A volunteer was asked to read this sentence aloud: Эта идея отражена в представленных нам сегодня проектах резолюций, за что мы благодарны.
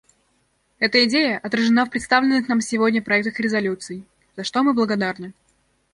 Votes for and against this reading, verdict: 2, 0, accepted